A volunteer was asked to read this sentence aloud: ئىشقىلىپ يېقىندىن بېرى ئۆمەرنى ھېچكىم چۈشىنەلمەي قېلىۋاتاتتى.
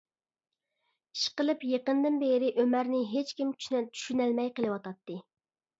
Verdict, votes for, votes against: rejected, 1, 2